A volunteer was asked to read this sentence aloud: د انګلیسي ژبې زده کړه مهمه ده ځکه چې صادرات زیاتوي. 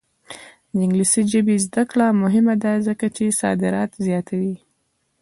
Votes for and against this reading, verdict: 0, 2, rejected